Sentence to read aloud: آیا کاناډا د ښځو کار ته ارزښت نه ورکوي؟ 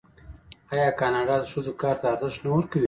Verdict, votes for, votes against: rejected, 1, 2